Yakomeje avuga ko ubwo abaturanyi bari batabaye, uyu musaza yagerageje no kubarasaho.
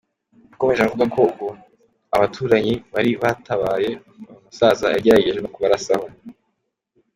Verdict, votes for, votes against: accepted, 3, 1